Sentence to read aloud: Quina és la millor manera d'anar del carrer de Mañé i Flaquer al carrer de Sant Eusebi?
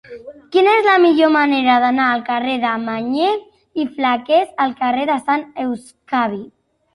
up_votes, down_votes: 0, 2